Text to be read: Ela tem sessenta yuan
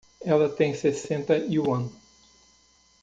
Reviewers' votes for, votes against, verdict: 2, 0, accepted